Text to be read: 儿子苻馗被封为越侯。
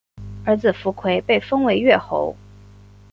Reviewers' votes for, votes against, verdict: 2, 0, accepted